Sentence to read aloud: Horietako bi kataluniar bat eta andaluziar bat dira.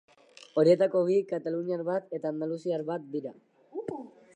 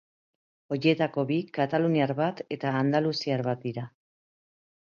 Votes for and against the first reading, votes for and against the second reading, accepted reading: 2, 0, 1, 3, first